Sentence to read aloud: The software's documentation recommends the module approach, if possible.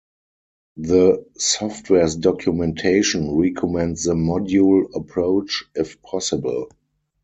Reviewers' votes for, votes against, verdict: 0, 4, rejected